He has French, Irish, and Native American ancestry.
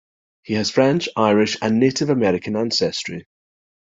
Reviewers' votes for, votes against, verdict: 2, 0, accepted